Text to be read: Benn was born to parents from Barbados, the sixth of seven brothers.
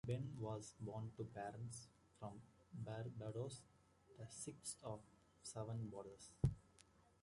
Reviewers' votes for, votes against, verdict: 0, 2, rejected